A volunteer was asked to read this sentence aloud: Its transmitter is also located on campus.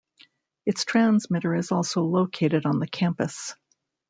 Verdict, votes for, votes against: rejected, 0, 2